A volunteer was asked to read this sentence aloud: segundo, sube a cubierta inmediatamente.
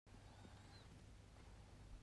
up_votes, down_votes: 0, 2